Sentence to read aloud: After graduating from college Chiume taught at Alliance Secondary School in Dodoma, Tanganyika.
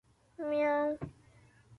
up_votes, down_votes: 0, 2